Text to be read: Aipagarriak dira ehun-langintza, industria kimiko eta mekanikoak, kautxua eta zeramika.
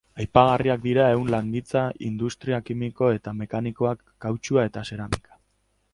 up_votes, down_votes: 2, 2